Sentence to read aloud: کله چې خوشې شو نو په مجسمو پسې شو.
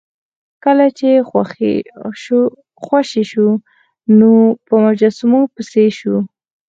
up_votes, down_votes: 2, 4